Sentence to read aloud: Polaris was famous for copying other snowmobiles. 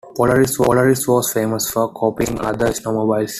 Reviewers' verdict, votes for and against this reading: rejected, 0, 2